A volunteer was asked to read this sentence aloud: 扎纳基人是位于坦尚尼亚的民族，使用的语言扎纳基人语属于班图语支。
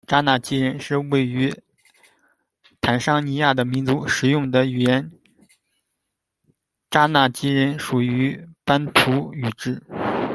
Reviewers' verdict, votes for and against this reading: rejected, 0, 2